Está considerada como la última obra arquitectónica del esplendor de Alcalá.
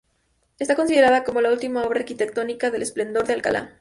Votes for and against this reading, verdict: 0, 2, rejected